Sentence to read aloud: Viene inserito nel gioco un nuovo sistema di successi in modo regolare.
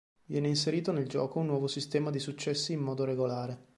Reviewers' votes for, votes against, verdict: 2, 0, accepted